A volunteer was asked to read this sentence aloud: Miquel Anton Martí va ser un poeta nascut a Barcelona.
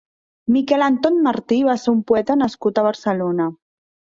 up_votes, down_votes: 2, 0